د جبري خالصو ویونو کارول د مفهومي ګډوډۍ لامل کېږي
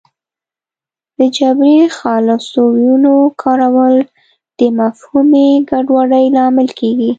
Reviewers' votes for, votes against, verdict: 1, 2, rejected